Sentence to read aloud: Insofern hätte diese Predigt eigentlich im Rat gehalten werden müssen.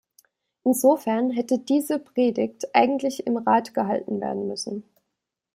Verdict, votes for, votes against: accepted, 2, 0